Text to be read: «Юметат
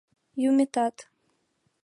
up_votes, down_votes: 2, 0